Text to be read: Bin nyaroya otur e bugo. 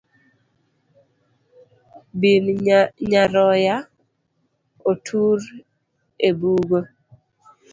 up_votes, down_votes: 1, 2